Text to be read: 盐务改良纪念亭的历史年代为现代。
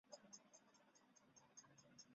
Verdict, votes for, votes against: rejected, 0, 3